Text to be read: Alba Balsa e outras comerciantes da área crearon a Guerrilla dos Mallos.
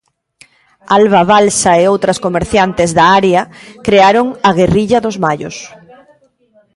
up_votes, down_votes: 2, 0